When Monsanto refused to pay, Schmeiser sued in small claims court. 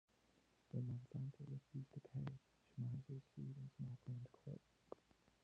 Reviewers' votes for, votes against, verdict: 0, 2, rejected